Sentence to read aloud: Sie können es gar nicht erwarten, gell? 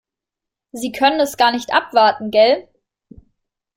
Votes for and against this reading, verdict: 0, 2, rejected